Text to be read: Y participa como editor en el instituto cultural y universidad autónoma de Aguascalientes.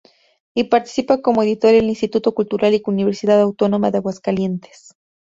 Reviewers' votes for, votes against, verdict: 0, 4, rejected